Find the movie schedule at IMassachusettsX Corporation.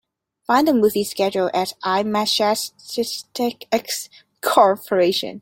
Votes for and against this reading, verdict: 0, 2, rejected